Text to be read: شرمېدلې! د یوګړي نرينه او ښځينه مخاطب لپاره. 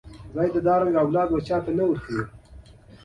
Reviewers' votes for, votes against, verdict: 2, 0, accepted